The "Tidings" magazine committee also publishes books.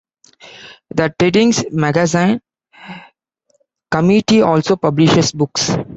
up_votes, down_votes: 1, 2